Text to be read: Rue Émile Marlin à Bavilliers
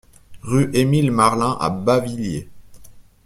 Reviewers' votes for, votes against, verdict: 2, 0, accepted